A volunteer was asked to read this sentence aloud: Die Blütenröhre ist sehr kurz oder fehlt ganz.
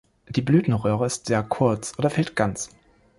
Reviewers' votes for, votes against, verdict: 2, 0, accepted